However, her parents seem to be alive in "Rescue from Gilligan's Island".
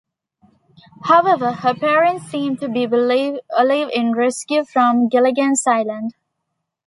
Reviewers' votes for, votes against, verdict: 1, 2, rejected